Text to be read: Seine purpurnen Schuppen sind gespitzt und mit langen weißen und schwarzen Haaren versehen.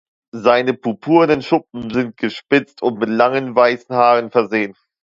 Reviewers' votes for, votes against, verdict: 0, 2, rejected